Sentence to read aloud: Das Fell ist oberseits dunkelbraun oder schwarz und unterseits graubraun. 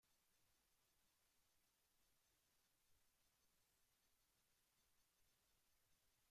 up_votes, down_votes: 0, 2